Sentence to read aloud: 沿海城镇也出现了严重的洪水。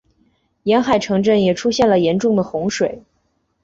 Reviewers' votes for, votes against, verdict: 4, 0, accepted